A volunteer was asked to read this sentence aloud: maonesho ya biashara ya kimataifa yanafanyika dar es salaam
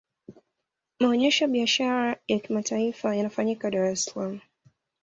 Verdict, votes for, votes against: rejected, 0, 2